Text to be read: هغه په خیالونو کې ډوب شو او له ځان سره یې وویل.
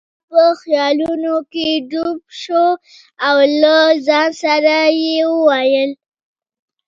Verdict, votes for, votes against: accepted, 2, 0